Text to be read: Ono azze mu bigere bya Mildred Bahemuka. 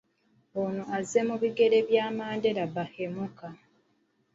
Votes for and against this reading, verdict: 1, 2, rejected